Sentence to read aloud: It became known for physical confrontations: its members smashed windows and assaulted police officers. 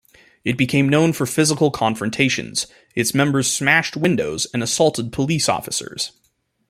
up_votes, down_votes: 2, 0